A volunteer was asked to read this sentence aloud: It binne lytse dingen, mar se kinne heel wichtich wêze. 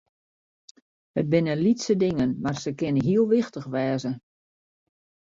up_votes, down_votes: 0, 2